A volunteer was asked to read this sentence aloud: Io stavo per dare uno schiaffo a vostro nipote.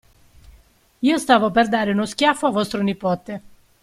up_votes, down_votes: 2, 0